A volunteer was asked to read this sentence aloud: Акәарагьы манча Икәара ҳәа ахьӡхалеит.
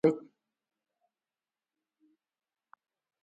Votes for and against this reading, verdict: 0, 2, rejected